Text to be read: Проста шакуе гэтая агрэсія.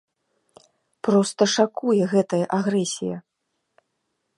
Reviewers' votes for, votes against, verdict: 2, 0, accepted